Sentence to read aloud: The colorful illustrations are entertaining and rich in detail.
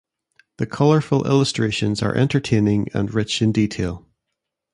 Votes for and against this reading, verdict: 2, 0, accepted